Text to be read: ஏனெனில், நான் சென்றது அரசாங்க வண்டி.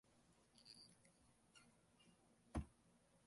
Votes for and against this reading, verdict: 0, 2, rejected